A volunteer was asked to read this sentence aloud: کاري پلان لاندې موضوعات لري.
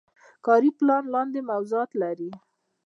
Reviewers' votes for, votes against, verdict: 2, 0, accepted